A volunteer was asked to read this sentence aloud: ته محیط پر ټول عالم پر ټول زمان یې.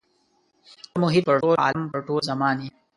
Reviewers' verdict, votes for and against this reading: rejected, 0, 2